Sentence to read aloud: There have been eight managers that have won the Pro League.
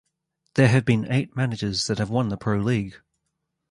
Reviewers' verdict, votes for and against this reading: accepted, 2, 0